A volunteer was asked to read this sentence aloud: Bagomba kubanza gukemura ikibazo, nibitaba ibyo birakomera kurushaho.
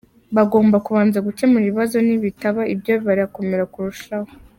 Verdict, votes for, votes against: accepted, 2, 1